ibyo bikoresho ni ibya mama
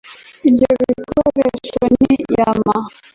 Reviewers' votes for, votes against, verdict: 0, 2, rejected